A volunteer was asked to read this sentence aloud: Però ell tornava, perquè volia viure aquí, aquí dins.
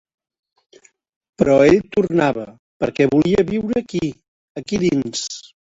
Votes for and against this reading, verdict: 4, 1, accepted